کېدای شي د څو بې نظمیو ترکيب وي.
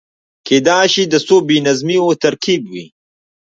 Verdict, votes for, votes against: accepted, 3, 1